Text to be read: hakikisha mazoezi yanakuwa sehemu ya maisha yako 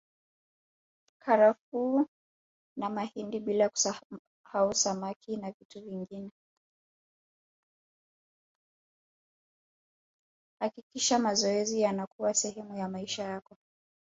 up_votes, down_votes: 0, 3